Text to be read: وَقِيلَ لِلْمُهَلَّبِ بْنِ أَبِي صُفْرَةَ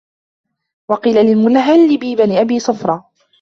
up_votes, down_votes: 1, 2